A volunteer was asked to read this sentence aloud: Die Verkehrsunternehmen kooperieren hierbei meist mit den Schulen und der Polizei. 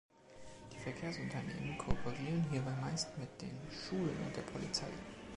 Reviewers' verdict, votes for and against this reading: accepted, 3, 0